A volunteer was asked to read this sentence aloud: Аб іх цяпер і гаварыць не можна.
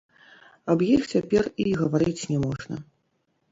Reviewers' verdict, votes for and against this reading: rejected, 1, 2